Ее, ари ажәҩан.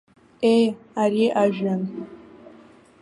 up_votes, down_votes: 1, 2